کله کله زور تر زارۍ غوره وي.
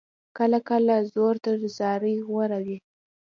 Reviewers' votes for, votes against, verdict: 2, 0, accepted